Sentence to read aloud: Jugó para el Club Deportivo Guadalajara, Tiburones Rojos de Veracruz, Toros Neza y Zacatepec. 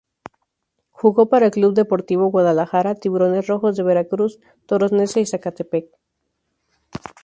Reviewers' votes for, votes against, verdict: 2, 0, accepted